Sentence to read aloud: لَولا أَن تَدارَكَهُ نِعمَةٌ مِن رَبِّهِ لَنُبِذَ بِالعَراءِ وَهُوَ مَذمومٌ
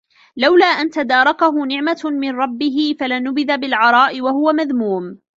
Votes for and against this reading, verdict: 0, 2, rejected